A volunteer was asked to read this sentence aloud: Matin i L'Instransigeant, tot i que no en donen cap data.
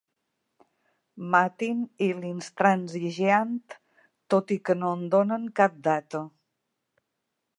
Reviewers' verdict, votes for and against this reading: accepted, 3, 0